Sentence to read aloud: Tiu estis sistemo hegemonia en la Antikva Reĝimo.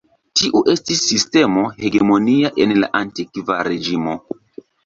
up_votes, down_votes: 2, 0